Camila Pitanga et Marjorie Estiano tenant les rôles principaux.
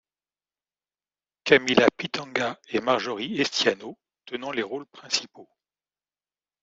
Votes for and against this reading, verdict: 2, 0, accepted